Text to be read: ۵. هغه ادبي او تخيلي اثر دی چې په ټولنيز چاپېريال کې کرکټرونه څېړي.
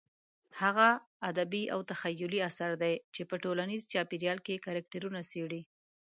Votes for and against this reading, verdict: 0, 2, rejected